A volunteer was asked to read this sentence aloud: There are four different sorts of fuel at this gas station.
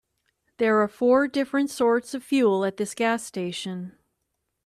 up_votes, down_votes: 2, 0